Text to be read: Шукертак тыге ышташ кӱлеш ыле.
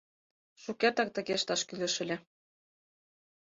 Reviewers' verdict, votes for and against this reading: accepted, 4, 0